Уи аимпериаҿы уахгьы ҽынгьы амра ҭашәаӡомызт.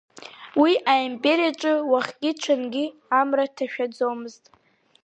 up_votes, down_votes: 4, 0